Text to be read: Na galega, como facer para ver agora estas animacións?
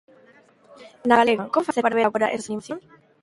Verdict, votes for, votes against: rejected, 0, 2